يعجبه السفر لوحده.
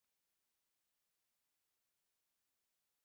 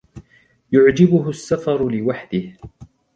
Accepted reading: second